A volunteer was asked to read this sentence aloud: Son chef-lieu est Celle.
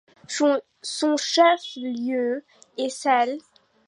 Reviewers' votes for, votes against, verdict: 1, 2, rejected